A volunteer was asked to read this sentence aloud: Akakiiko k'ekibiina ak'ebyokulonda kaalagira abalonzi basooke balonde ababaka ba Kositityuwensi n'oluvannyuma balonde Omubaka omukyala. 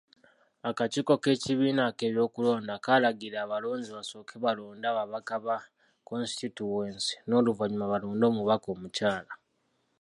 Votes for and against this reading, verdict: 2, 0, accepted